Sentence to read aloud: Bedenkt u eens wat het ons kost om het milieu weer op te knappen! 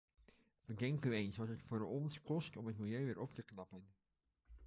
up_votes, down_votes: 2, 0